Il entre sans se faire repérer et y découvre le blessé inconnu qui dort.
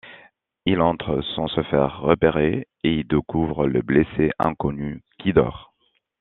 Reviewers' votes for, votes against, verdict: 1, 2, rejected